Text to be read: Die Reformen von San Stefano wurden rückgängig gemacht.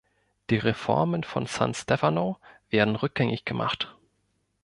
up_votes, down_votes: 0, 2